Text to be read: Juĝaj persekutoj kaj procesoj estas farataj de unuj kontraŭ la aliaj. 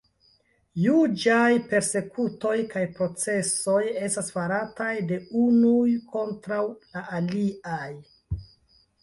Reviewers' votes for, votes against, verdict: 2, 0, accepted